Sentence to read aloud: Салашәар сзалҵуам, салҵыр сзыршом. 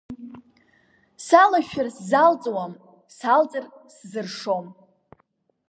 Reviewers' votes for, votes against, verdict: 2, 0, accepted